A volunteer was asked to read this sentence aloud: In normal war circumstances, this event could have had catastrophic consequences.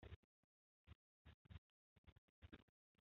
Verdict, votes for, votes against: rejected, 0, 2